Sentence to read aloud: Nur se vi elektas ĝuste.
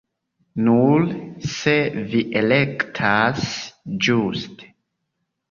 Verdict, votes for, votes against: rejected, 1, 2